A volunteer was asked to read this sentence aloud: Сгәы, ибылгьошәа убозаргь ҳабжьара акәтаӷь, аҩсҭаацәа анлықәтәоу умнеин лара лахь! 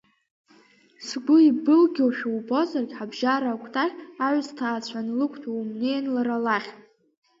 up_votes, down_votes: 3, 0